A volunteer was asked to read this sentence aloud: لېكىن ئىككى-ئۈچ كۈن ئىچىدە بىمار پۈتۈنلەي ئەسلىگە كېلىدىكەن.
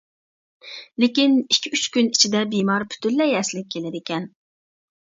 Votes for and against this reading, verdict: 2, 0, accepted